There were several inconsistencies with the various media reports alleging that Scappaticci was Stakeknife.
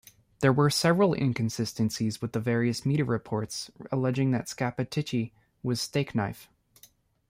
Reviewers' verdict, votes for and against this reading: rejected, 1, 2